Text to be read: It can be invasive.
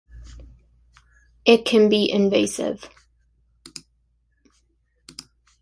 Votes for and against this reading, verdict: 2, 0, accepted